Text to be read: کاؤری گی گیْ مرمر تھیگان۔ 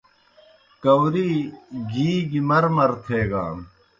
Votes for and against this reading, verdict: 2, 0, accepted